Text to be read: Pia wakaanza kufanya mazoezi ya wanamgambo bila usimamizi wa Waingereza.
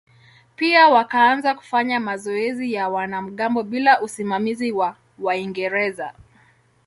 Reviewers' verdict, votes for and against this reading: accepted, 2, 0